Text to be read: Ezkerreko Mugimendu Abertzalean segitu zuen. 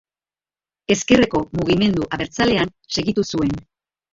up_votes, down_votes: 2, 0